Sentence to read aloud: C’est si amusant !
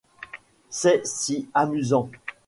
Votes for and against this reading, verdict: 2, 0, accepted